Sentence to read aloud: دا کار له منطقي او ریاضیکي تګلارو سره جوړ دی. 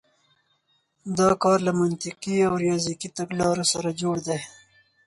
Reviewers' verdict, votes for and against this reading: accepted, 4, 0